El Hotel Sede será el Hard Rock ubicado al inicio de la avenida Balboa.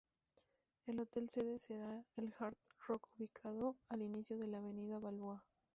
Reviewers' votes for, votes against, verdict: 0, 2, rejected